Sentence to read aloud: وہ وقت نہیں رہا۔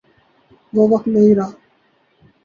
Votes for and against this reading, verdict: 0, 2, rejected